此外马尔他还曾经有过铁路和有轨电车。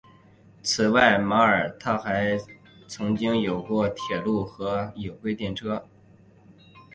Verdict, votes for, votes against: accepted, 2, 0